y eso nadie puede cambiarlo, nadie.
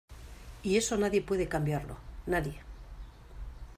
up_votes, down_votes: 2, 0